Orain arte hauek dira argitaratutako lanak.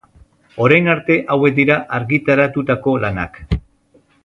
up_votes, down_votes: 1, 2